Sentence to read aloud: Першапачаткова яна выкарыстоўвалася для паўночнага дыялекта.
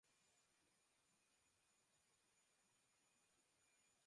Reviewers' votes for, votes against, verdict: 0, 2, rejected